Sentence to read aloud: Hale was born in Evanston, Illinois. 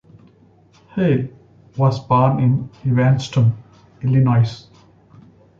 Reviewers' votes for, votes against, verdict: 2, 0, accepted